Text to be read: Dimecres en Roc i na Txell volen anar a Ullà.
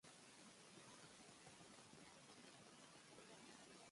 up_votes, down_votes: 0, 2